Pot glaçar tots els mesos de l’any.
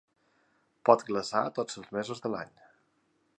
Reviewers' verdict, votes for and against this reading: accepted, 2, 0